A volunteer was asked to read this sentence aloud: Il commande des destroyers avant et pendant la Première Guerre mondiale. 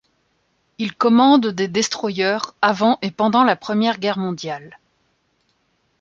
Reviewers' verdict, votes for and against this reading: rejected, 1, 2